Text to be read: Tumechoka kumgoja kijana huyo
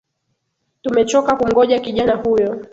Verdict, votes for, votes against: rejected, 2, 3